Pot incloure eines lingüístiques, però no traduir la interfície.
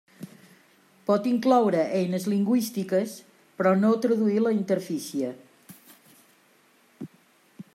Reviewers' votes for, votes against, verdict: 2, 1, accepted